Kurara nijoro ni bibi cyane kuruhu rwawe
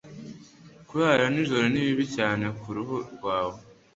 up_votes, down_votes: 2, 0